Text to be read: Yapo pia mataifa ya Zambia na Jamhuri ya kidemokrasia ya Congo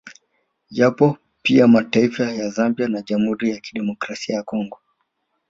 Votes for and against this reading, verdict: 1, 2, rejected